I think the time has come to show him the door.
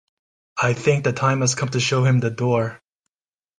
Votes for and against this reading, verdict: 2, 0, accepted